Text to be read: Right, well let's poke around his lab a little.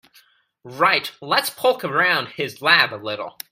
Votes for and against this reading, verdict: 0, 2, rejected